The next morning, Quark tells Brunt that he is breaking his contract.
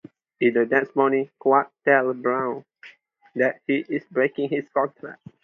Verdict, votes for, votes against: rejected, 0, 2